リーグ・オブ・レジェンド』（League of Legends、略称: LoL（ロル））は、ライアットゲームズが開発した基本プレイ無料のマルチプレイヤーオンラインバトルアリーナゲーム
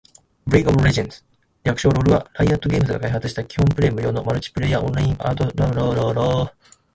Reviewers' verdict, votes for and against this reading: rejected, 0, 2